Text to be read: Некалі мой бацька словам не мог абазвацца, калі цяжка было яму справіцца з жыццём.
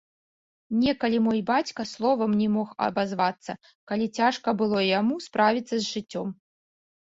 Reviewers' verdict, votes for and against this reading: accepted, 2, 0